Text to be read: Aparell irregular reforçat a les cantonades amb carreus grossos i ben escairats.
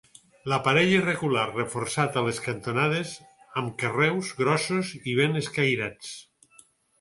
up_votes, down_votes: 0, 4